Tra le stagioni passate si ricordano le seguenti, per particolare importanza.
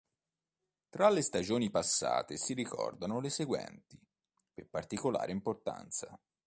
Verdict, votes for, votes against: accepted, 2, 0